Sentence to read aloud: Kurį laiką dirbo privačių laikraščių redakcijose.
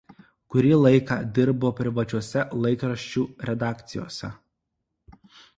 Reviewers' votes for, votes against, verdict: 1, 2, rejected